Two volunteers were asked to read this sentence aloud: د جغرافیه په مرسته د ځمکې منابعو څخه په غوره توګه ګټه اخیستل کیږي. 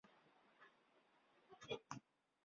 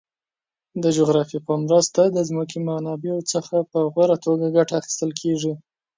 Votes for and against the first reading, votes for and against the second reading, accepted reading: 0, 2, 4, 0, second